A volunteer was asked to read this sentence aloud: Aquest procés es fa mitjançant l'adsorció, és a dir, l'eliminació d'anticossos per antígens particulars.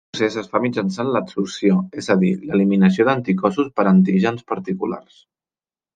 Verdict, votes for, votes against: rejected, 0, 2